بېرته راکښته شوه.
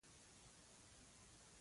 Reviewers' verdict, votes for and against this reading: rejected, 0, 2